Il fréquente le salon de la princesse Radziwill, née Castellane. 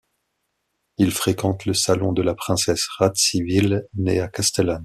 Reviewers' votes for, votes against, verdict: 1, 2, rejected